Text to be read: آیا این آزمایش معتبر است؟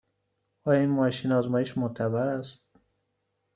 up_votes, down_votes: 1, 2